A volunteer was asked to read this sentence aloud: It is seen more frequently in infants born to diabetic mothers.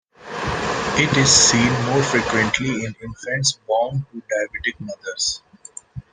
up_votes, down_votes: 2, 0